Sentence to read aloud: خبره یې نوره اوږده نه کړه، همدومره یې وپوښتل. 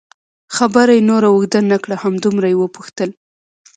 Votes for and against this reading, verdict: 2, 0, accepted